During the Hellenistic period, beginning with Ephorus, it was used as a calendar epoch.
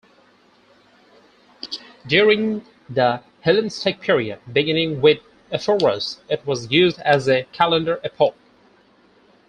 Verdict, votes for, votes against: accepted, 4, 0